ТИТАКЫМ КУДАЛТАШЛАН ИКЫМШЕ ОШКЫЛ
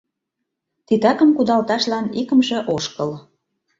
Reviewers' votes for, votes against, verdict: 2, 0, accepted